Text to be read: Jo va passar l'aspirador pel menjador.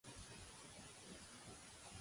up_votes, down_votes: 0, 2